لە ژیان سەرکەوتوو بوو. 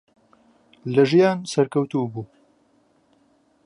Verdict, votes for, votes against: accepted, 2, 0